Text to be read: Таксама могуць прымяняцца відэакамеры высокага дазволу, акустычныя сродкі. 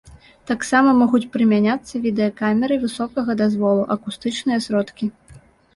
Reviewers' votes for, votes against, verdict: 2, 0, accepted